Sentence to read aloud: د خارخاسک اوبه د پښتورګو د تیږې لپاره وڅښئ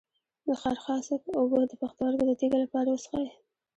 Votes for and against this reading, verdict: 2, 0, accepted